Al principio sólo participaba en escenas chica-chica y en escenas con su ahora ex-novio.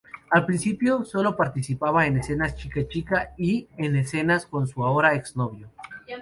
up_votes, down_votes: 2, 0